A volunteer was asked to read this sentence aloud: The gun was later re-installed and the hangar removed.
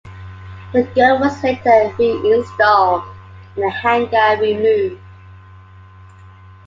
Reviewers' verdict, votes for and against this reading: rejected, 0, 2